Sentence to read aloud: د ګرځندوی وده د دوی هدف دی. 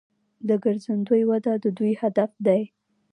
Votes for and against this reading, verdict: 1, 2, rejected